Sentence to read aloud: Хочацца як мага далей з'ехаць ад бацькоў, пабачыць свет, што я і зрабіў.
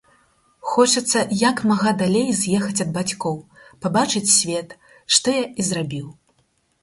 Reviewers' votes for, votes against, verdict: 6, 0, accepted